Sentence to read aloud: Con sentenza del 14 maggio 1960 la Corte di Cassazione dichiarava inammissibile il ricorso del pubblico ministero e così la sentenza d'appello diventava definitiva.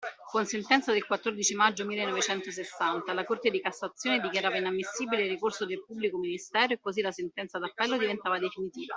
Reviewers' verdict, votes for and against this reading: rejected, 0, 2